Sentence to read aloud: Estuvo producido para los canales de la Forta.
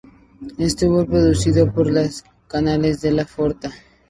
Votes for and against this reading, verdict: 0, 2, rejected